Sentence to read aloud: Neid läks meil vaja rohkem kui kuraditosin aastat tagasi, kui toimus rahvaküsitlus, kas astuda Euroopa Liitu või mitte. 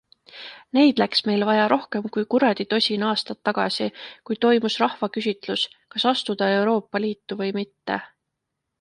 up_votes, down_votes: 2, 0